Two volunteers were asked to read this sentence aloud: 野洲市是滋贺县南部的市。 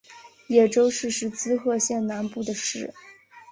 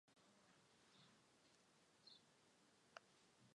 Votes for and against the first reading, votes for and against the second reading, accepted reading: 2, 0, 0, 3, first